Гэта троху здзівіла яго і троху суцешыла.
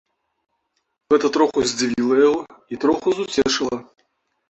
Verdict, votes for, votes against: accepted, 2, 1